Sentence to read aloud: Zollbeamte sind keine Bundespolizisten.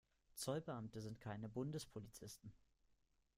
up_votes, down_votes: 2, 0